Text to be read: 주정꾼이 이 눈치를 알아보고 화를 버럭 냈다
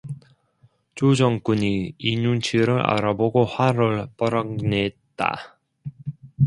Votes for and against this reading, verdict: 0, 2, rejected